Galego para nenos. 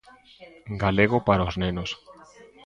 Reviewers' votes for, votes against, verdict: 0, 2, rejected